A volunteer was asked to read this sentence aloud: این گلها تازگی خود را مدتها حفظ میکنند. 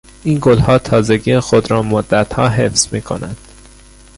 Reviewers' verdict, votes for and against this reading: rejected, 0, 3